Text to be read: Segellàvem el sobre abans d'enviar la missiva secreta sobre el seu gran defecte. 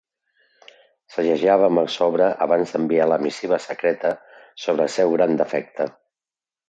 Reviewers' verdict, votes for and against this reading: accepted, 2, 0